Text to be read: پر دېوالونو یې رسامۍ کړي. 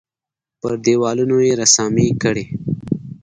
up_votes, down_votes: 2, 1